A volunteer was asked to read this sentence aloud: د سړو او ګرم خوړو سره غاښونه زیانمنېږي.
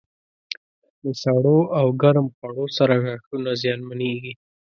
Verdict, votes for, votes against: accepted, 2, 0